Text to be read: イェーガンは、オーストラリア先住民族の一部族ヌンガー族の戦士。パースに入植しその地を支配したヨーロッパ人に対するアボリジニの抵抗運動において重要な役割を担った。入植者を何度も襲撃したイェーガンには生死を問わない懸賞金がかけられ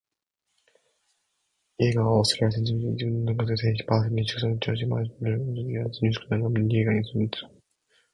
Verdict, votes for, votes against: rejected, 0, 2